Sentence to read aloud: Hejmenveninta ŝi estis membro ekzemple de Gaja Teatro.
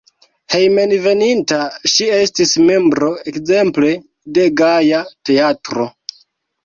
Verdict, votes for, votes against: accepted, 2, 0